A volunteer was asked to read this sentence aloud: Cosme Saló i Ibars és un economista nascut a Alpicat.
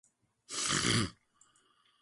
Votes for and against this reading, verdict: 0, 2, rejected